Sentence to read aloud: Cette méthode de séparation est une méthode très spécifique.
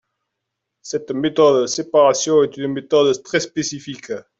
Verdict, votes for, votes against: accepted, 2, 0